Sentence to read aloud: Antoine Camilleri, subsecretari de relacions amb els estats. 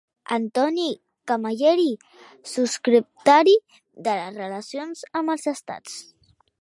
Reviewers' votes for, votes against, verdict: 0, 2, rejected